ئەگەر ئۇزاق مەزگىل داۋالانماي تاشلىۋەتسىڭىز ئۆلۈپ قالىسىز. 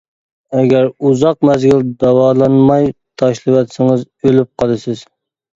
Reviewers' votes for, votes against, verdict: 2, 0, accepted